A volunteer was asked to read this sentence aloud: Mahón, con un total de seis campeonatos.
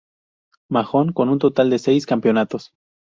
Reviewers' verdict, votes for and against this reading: accepted, 2, 0